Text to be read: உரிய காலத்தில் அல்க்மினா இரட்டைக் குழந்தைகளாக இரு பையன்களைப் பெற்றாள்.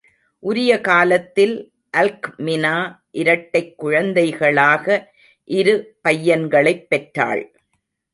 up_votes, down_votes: 2, 0